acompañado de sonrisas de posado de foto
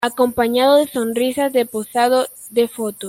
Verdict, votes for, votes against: accepted, 2, 0